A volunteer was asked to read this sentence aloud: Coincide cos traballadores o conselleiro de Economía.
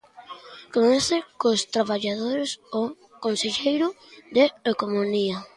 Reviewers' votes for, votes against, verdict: 0, 2, rejected